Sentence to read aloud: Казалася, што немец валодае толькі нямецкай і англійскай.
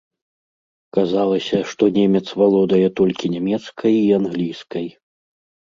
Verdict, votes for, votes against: accepted, 2, 0